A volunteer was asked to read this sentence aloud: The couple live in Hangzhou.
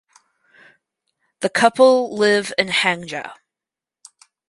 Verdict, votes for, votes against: rejected, 2, 4